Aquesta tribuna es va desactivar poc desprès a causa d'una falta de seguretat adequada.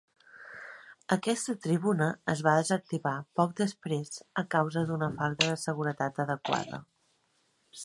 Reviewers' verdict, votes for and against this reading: accepted, 3, 0